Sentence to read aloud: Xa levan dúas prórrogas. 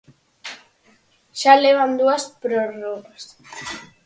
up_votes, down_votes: 4, 2